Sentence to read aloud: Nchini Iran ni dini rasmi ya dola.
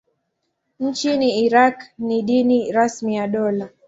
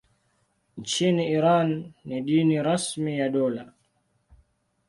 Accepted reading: second